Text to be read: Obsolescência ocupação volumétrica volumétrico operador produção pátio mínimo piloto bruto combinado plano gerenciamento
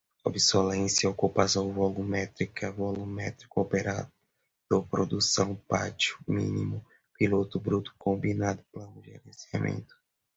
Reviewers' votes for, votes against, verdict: 0, 2, rejected